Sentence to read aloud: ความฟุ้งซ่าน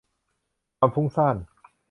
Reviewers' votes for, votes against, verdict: 0, 2, rejected